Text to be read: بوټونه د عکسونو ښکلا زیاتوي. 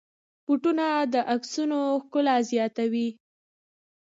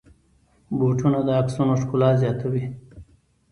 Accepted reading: first